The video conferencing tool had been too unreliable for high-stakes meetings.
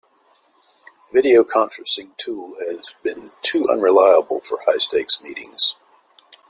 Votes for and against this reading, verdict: 2, 1, accepted